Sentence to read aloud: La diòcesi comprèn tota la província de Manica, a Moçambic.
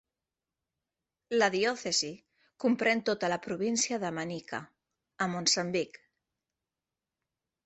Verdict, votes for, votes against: rejected, 1, 3